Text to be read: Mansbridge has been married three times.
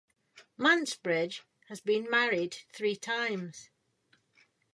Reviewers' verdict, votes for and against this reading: accepted, 2, 0